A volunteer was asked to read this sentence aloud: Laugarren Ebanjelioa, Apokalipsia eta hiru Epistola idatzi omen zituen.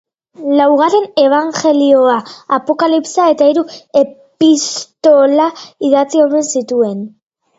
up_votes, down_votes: 1, 2